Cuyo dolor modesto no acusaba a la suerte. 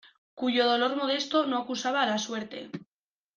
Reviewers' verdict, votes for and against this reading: accepted, 2, 0